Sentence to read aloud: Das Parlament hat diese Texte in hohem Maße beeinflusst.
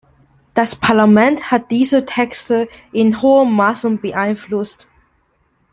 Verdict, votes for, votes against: rejected, 1, 2